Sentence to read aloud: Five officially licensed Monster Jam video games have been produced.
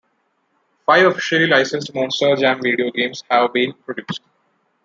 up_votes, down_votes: 1, 2